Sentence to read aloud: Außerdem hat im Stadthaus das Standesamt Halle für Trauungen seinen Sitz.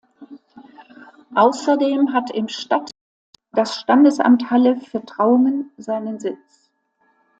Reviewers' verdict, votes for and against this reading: rejected, 0, 2